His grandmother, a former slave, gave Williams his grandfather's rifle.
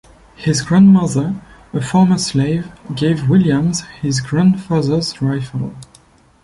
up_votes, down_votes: 2, 1